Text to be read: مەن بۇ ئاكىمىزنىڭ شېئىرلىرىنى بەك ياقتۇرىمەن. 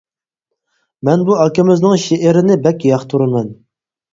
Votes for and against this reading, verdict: 0, 4, rejected